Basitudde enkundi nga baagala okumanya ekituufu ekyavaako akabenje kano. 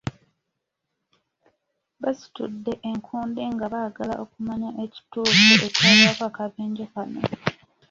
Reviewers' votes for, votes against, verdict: 2, 0, accepted